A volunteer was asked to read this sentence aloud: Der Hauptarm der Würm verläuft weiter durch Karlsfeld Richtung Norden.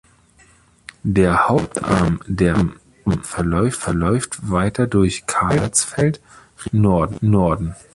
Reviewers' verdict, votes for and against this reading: rejected, 0, 2